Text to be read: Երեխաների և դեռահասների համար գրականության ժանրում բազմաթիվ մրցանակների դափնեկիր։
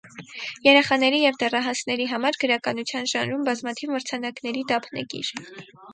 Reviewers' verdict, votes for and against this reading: rejected, 2, 4